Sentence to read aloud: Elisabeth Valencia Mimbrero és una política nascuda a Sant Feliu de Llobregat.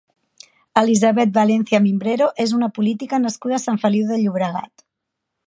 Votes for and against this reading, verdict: 2, 0, accepted